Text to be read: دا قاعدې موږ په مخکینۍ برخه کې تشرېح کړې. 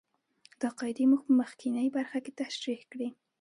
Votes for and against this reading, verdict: 2, 0, accepted